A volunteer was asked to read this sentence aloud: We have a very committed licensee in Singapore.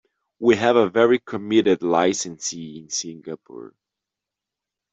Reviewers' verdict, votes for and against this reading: accepted, 2, 0